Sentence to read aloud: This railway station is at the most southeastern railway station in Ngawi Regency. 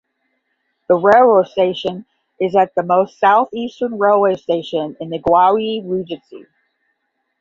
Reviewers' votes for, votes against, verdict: 5, 10, rejected